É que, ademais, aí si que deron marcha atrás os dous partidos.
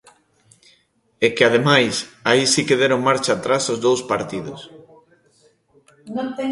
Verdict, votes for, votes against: rejected, 0, 2